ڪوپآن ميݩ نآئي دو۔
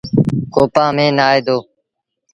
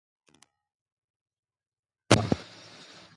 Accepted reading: first